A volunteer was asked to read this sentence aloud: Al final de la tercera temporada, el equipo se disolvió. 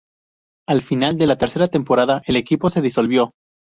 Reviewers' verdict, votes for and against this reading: accepted, 2, 0